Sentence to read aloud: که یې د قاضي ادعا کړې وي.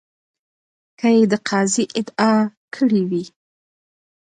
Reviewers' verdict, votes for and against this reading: rejected, 0, 2